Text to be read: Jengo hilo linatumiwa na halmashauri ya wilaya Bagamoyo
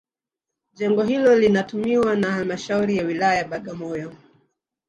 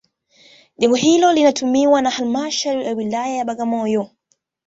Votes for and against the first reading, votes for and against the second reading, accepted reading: 1, 2, 2, 0, second